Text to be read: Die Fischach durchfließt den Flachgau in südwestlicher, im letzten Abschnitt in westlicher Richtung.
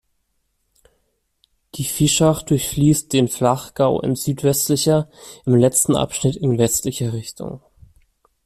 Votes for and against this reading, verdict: 2, 0, accepted